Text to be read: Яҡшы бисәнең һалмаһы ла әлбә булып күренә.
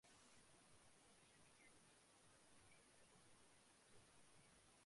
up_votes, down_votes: 0, 2